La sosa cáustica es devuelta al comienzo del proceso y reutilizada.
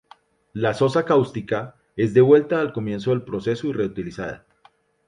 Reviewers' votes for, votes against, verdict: 2, 0, accepted